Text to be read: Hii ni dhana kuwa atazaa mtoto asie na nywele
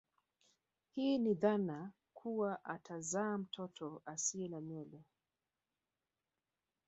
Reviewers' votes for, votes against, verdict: 1, 2, rejected